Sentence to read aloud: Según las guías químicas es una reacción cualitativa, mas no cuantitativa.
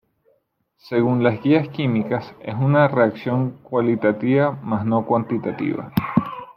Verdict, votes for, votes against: accepted, 2, 0